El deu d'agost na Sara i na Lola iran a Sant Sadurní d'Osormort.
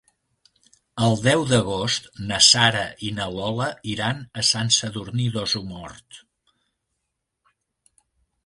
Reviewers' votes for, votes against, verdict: 1, 2, rejected